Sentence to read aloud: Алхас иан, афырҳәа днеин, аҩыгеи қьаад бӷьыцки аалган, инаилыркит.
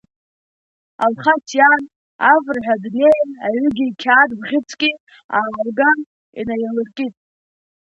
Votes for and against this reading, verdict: 2, 0, accepted